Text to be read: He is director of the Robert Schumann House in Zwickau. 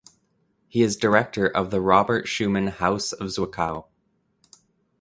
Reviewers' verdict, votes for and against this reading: rejected, 0, 2